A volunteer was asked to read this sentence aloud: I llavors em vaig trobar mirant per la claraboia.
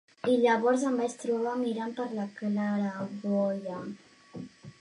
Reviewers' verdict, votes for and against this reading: rejected, 1, 2